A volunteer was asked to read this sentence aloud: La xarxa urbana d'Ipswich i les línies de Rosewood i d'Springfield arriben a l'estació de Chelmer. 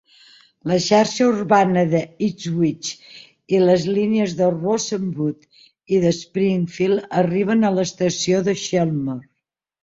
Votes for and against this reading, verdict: 1, 2, rejected